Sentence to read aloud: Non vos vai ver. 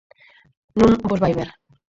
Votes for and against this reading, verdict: 0, 4, rejected